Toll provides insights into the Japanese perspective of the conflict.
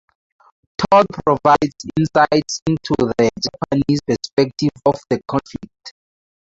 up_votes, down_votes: 4, 0